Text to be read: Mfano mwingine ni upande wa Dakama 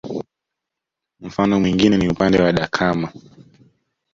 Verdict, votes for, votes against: accepted, 2, 0